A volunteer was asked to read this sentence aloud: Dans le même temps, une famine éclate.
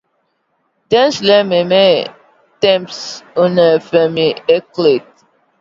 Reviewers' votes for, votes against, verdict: 2, 1, accepted